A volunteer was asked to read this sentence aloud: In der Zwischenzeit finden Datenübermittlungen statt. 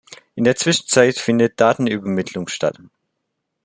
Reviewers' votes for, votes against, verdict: 0, 2, rejected